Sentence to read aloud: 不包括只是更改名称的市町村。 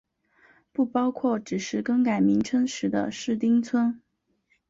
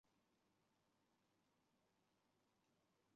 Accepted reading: first